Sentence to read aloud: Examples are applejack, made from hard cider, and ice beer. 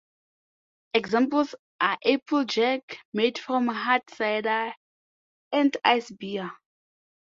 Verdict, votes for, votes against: accepted, 2, 0